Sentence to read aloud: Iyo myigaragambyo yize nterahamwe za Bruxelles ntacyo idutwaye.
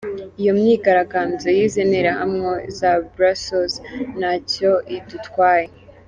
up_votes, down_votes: 2, 0